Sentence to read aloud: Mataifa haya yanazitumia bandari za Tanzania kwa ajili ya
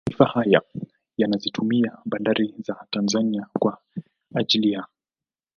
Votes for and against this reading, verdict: 2, 3, rejected